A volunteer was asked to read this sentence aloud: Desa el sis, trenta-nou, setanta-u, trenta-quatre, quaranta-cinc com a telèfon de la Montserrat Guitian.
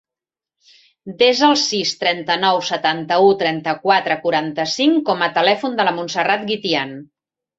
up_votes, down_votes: 3, 0